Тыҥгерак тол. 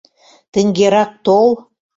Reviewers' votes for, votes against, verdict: 2, 0, accepted